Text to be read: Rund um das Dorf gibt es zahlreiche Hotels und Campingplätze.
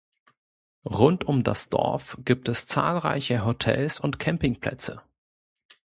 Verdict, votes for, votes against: accepted, 2, 0